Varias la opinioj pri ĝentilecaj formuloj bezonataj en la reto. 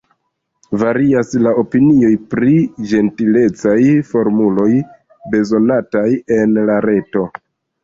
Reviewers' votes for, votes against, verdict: 1, 2, rejected